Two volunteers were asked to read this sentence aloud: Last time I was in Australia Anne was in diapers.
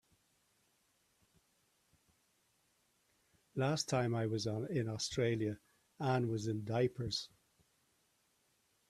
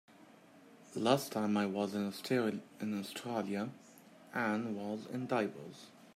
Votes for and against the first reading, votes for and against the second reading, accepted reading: 3, 0, 0, 2, first